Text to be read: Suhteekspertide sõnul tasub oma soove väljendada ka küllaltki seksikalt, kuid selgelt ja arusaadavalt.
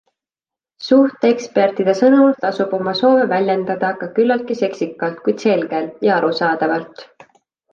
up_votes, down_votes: 2, 0